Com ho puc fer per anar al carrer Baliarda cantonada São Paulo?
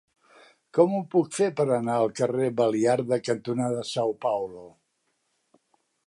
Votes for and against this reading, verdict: 2, 0, accepted